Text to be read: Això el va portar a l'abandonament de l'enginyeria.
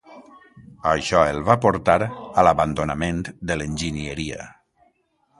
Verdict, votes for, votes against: accepted, 2, 0